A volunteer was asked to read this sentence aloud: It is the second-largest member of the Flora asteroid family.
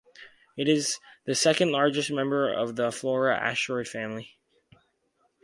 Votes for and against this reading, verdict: 2, 0, accepted